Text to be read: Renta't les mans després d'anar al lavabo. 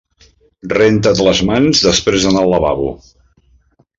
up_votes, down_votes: 2, 0